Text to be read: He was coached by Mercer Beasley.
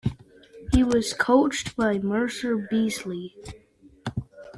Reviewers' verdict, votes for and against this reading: rejected, 1, 2